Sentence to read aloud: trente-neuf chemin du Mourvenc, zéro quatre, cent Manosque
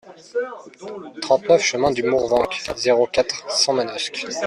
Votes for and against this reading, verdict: 0, 2, rejected